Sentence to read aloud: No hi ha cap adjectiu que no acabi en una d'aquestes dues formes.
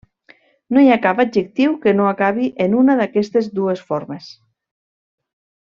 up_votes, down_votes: 1, 2